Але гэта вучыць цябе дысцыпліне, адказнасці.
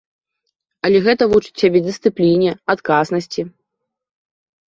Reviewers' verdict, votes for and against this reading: accepted, 2, 0